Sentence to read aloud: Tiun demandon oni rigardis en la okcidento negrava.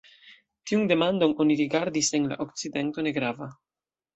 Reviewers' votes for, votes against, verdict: 2, 0, accepted